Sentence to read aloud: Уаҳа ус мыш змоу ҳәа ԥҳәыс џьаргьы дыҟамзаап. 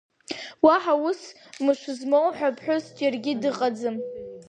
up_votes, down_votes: 1, 2